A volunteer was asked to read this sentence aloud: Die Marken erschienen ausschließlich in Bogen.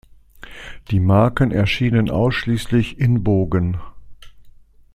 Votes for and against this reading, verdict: 2, 0, accepted